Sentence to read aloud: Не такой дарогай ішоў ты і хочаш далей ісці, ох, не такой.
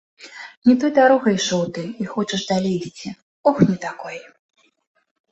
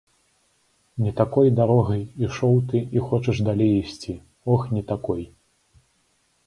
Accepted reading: second